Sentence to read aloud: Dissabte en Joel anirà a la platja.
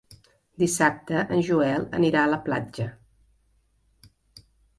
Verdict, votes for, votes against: accepted, 3, 0